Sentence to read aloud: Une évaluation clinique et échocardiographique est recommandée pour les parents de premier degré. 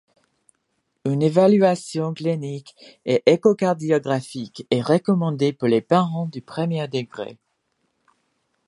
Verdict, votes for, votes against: accepted, 2, 0